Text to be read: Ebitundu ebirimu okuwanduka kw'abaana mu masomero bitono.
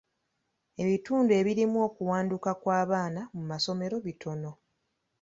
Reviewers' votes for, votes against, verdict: 2, 0, accepted